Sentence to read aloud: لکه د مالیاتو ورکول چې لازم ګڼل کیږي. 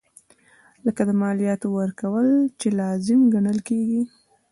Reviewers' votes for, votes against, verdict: 1, 2, rejected